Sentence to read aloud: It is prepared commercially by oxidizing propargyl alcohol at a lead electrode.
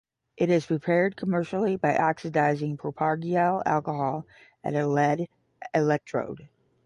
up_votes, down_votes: 10, 0